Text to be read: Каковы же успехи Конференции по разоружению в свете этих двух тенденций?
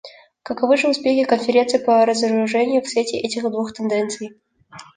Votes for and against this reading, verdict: 2, 0, accepted